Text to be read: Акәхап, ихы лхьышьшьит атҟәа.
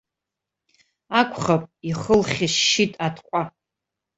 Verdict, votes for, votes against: accepted, 2, 0